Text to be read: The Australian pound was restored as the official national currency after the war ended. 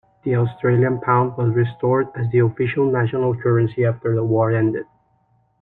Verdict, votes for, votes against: accepted, 2, 0